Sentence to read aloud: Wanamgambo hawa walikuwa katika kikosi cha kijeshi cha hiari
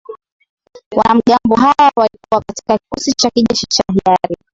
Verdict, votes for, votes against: accepted, 3, 0